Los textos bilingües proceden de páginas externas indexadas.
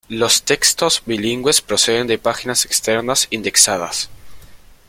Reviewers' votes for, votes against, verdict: 2, 0, accepted